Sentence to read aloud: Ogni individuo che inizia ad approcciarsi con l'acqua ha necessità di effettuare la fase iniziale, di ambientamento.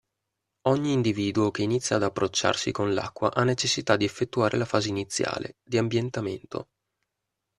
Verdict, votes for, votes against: accepted, 2, 0